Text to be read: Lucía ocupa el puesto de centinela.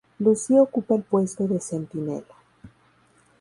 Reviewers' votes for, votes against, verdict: 0, 2, rejected